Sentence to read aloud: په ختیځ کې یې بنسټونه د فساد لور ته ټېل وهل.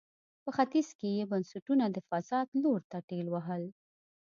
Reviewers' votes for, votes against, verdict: 2, 0, accepted